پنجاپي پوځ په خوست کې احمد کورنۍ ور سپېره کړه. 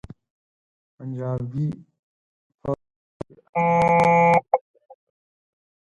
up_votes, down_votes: 4, 14